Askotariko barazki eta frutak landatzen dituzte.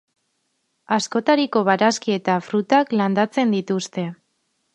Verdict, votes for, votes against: accepted, 4, 0